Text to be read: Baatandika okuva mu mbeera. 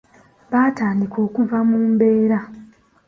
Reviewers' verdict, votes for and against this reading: accepted, 2, 0